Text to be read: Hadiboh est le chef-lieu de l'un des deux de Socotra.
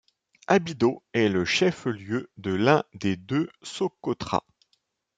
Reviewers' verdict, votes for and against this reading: rejected, 0, 2